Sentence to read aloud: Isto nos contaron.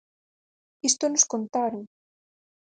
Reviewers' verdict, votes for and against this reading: accepted, 4, 0